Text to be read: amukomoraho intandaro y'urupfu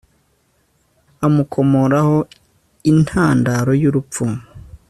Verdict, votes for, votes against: accepted, 2, 0